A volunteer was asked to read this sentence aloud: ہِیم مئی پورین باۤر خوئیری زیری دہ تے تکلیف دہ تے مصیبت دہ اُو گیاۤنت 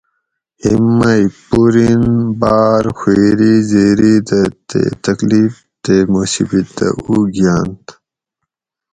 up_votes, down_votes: 2, 2